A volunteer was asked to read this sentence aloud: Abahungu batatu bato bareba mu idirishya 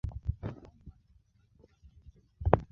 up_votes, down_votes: 0, 2